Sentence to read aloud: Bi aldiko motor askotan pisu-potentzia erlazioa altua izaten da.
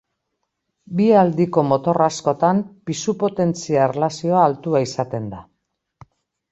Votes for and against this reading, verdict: 3, 0, accepted